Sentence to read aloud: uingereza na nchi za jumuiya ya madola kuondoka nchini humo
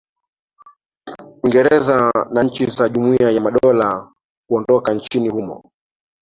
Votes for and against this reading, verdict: 2, 1, accepted